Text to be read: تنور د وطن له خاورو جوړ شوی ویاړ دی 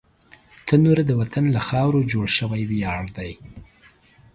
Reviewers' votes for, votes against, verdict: 2, 0, accepted